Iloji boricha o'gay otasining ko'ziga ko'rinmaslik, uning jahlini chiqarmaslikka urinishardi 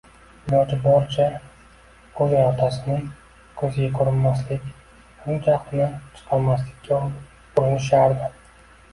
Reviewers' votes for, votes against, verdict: 2, 0, accepted